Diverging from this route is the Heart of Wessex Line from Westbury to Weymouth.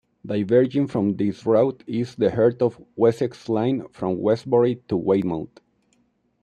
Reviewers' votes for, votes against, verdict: 1, 2, rejected